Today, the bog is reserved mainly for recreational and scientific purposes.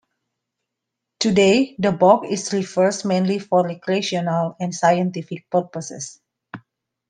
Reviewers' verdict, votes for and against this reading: rejected, 0, 2